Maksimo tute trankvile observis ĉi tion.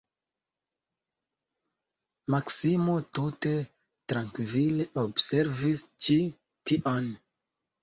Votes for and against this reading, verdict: 2, 1, accepted